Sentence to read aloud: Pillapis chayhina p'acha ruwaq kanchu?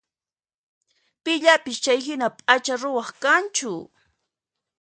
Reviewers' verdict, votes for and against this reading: accepted, 2, 0